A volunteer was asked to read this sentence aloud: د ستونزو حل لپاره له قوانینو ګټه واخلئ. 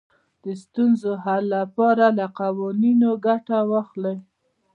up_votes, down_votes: 2, 0